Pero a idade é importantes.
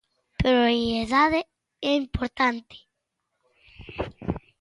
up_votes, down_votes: 0, 2